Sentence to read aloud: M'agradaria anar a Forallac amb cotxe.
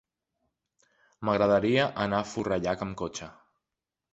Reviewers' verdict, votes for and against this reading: rejected, 1, 2